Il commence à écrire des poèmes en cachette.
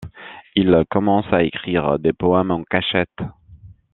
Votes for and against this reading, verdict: 2, 0, accepted